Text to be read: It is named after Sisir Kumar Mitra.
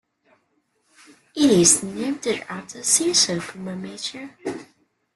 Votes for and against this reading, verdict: 2, 0, accepted